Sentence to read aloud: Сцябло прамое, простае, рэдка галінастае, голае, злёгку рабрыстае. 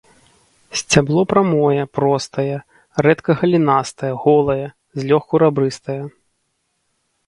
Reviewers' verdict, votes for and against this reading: accepted, 2, 0